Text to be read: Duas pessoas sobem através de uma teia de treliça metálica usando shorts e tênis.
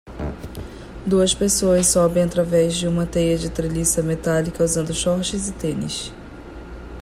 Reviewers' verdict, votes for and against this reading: accepted, 2, 0